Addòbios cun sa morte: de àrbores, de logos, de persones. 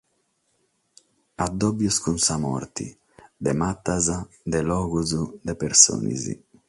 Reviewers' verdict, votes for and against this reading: rejected, 3, 6